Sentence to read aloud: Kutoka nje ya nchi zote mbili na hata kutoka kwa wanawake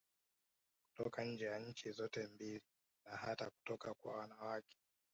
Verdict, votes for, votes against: accepted, 2, 1